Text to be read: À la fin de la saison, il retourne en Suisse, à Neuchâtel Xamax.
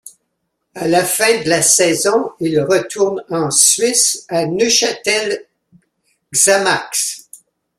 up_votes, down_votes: 2, 1